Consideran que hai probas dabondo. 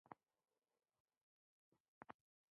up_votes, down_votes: 0, 2